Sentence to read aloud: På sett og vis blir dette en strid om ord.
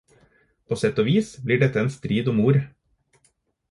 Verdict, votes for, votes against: accepted, 4, 0